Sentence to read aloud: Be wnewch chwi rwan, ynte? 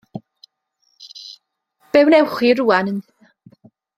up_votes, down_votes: 0, 2